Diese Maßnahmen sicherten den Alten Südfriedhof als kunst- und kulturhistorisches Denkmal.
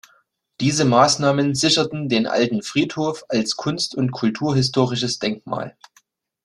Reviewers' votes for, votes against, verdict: 1, 2, rejected